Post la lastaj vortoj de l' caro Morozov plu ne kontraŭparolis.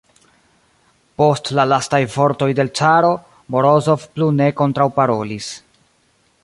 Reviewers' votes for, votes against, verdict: 1, 2, rejected